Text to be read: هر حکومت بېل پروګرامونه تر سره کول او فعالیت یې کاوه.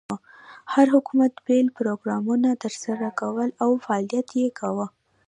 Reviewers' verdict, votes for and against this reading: rejected, 0, 2